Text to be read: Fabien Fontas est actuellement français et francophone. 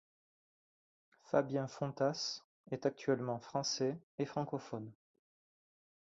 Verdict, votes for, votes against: accepted, 2, 1